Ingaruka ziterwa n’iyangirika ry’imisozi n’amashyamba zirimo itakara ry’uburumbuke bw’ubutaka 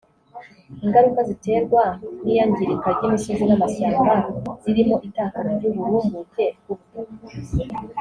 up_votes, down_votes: 1, 2